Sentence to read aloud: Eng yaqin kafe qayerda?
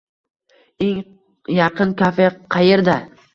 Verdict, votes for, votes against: rejected, 1, 3